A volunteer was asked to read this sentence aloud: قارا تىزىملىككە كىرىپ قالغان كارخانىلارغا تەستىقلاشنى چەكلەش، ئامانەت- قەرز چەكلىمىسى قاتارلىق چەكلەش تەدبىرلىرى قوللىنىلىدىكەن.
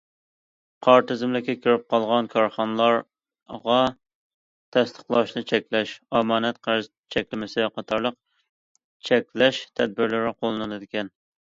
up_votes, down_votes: 0, 2